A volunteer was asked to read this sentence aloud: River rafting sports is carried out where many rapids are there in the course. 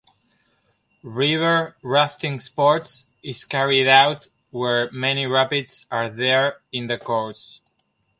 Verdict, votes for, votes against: rejected, 1, 2